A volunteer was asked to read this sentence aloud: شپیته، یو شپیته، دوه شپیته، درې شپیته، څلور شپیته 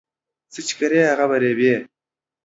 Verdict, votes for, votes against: rejected, 0, 2